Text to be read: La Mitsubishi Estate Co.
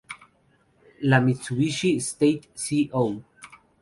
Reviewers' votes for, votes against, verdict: 0, 2, rejected